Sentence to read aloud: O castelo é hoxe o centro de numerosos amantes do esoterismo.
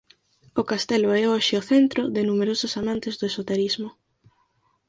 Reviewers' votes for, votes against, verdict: 4, 0, accepted